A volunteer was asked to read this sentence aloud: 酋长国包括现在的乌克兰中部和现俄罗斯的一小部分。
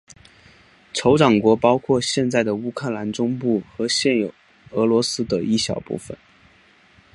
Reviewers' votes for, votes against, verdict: 2, 0, accepted